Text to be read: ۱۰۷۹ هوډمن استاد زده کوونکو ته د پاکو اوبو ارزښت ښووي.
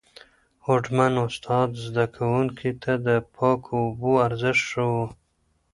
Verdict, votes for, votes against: rejected, 0, 2